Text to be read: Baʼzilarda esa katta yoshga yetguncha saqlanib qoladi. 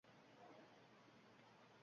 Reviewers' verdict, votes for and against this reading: rejected, 0, 2